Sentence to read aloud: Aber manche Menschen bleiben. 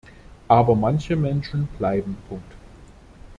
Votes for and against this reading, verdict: 0, 2, rejected